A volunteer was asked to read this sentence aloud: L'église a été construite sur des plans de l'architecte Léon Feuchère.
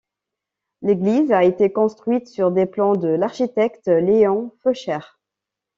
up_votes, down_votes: 2, 0